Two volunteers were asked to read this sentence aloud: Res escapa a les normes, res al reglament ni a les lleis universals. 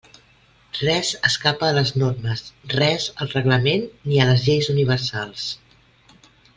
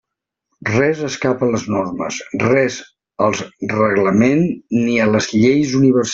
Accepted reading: first